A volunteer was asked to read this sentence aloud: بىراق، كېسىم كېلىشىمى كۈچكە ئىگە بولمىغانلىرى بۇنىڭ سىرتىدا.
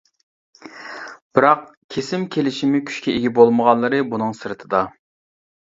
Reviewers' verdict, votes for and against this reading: accepted, 2, 0